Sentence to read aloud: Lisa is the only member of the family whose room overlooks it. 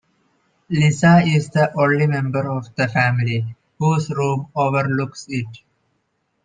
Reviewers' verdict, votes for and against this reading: accepted, 2, 0